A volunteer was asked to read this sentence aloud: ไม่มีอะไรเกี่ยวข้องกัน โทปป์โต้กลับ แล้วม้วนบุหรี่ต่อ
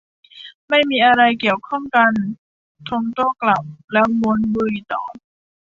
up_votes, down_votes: 1, 2